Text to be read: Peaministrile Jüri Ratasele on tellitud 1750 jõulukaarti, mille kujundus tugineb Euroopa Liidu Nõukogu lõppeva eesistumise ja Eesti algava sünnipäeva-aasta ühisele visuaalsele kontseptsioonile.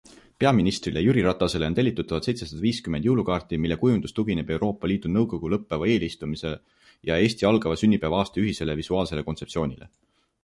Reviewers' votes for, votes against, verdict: 0, 2, rejected